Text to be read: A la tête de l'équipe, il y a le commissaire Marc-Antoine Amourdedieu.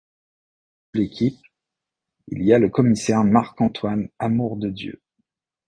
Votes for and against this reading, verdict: 0, 2, rejected